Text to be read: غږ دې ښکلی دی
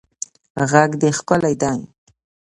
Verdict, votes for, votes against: accepted, 2, 0